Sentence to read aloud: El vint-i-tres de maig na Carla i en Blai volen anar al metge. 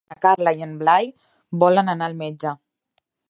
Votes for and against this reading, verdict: 1, 2, rejected